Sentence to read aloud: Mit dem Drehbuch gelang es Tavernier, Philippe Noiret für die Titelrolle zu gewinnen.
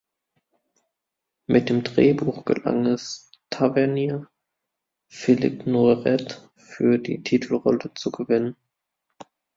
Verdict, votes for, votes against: rejected, 0, 2